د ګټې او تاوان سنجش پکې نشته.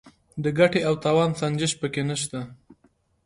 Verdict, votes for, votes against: accepted, 2, 0